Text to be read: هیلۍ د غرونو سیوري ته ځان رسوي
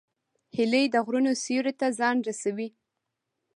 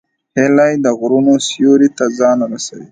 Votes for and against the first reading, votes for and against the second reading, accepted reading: 1, 2, 2, 0, second